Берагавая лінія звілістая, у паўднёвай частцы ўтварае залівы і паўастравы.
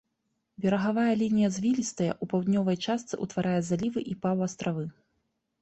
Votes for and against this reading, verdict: 2, 0, accepted